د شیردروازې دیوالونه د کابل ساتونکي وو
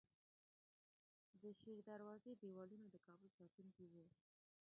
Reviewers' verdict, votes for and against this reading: rejected, 0, 2